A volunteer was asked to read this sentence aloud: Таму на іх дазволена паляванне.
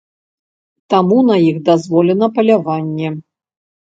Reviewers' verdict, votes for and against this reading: accepted, 2, 0